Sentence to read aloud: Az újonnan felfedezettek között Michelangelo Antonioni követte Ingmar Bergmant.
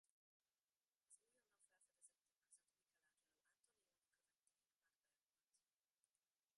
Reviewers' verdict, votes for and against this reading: rejected, 0, 2